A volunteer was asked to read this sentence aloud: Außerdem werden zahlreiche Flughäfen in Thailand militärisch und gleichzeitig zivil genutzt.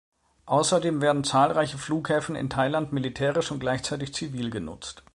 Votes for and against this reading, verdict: 2, 0, accepted